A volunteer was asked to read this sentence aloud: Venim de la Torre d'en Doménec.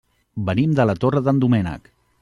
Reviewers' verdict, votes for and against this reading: accepted, 2, 0